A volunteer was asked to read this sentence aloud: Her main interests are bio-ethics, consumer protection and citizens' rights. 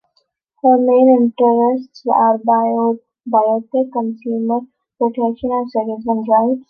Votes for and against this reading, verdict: 0, 2, rejected